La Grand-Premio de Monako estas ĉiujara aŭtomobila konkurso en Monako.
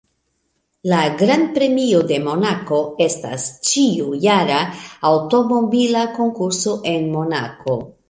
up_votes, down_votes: 2, 0